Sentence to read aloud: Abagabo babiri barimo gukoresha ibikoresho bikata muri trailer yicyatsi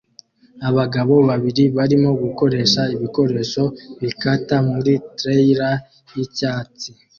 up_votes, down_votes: 2, 0